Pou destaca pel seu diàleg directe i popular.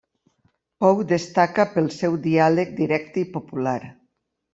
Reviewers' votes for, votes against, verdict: 2, 0, accepted